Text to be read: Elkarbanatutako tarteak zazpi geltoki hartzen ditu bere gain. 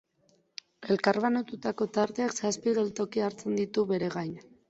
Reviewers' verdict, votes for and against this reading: accepted, 2, 0